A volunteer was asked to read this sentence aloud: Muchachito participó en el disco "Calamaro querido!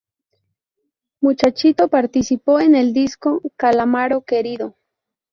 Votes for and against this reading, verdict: 0, 2, rejected